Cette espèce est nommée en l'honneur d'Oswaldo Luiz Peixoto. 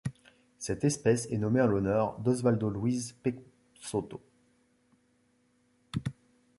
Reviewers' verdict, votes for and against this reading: rejected, 1, 2